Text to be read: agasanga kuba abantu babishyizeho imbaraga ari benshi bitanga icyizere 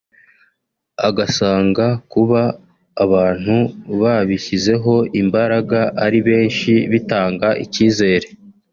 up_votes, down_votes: 3, 0